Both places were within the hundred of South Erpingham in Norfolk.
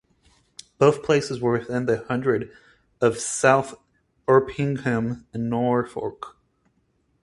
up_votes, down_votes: 4, 0